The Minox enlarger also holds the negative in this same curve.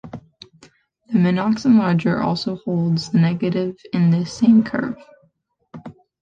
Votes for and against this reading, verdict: 0, 2, rejected